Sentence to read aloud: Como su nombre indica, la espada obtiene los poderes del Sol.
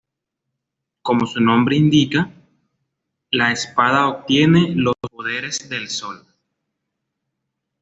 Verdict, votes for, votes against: accepted, 2, 0